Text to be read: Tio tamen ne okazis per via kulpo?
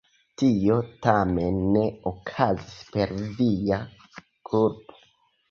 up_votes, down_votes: 0, 2